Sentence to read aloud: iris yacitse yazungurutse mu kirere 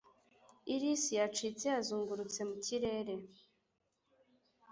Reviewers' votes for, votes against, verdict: 2, 0, accepted